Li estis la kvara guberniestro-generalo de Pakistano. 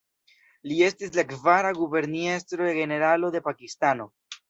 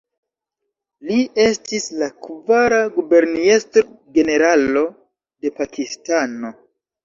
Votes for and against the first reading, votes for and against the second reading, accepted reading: 2, 0, 0, 2, first